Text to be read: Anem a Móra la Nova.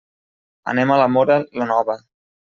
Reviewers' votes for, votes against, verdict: 0, 2, rejected